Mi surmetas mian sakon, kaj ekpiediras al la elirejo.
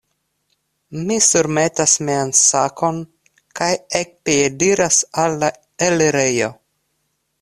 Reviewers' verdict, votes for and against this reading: accepted, 2, 0